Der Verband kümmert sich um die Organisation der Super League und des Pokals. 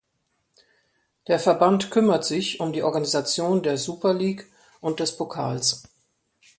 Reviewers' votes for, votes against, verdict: 2, 0, accepted